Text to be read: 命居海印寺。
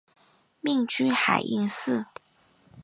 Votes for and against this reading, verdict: 2, 0, accepted